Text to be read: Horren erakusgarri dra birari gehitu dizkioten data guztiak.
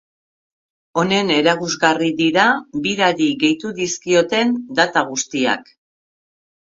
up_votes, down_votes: 0, 2